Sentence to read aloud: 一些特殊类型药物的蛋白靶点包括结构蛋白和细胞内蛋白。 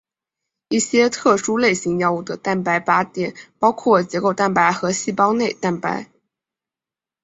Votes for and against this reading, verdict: 2, 0, accepted